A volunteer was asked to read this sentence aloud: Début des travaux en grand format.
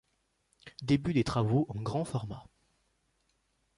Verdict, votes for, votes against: accepted, 2, 0